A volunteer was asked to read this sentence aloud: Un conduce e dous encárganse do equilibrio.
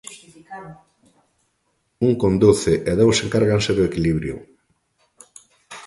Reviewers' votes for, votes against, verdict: 1, 2, rejected